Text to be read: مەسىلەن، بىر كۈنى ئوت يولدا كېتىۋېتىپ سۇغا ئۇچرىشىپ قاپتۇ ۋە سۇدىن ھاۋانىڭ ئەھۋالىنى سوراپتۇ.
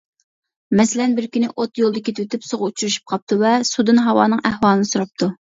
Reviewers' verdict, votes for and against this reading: accepted, 2, 0